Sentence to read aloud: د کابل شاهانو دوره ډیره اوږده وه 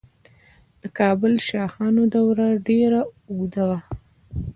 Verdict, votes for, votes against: rejected, 1, 2